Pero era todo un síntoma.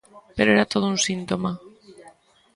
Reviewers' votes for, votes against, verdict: 1, 2, rejected